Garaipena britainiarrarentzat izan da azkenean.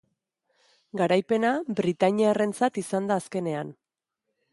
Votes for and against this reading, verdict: 2, 0, accepted